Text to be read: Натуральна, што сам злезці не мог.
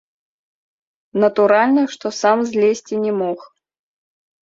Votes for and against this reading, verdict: 0, 2, rejected